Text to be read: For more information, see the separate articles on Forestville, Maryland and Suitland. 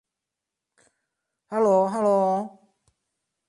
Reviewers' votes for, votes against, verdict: 0, 2, rejected